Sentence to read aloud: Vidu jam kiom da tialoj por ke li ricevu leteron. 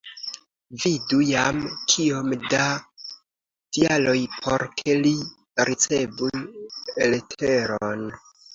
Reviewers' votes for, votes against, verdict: 2, 0, accepted